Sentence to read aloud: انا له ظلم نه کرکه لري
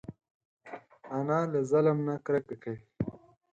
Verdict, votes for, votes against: rejected, 0, 4